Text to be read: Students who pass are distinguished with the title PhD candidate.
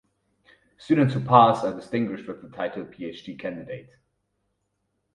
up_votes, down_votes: 4, 0